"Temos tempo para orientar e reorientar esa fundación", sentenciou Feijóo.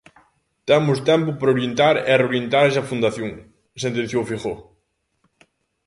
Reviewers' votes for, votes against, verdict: 2, 0, accepted